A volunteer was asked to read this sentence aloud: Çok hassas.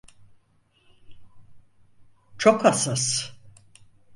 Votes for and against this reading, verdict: 4, 0, accepted